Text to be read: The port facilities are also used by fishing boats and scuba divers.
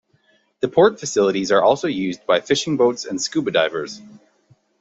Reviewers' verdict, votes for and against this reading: accepted, 2, 0